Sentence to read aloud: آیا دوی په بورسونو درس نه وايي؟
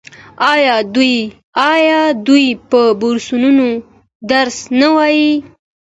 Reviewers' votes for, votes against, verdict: 2, 0, accepted